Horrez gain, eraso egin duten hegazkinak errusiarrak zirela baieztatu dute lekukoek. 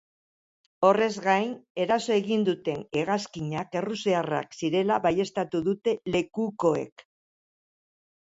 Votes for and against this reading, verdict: 2, 0, accepted